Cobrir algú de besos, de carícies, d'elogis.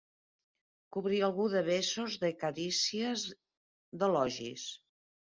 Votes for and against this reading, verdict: 2, 0, accepted